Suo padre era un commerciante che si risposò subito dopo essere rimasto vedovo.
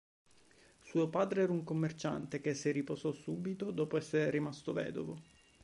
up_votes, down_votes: 1, 2